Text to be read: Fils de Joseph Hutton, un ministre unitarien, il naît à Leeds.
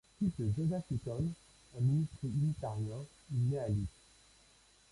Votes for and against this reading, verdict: 0, 2, rejected